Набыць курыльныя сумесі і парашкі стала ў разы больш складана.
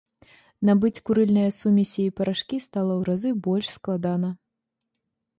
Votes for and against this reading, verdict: 2, 0, accepted